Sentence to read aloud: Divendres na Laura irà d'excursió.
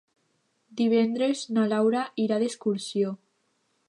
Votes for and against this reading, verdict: 2, 0, accepted